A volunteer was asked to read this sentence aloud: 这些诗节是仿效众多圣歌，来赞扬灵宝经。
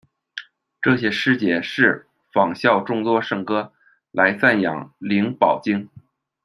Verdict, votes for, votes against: rejected, 0, 2